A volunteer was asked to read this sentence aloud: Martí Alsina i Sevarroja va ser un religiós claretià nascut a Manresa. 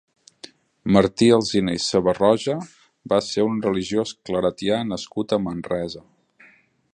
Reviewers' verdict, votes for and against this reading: accepted, 3, 0